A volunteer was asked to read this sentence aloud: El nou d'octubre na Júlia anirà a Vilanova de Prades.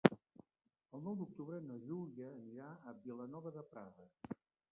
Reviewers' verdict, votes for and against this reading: rejected, 0, 2